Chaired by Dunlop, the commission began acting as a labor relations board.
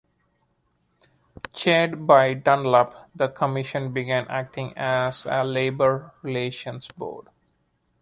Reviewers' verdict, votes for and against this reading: accepted, 2, 0